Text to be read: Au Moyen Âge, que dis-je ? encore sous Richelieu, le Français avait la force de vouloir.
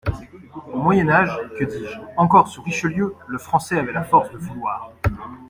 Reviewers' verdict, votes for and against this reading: accepted, 2, 0